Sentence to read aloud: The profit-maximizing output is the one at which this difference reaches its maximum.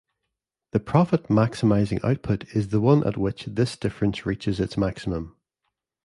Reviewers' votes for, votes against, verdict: 2, 0, accepted